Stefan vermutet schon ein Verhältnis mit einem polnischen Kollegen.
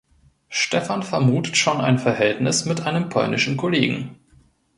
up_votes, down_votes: 2, 0